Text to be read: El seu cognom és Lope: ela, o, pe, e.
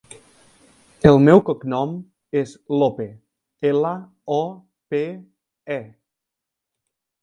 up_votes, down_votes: 0, 2